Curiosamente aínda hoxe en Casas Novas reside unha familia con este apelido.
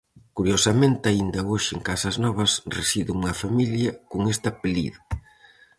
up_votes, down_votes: 4, 0